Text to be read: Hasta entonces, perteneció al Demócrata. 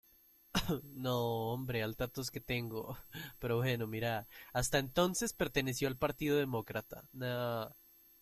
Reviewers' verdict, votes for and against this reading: rejected, 0, 2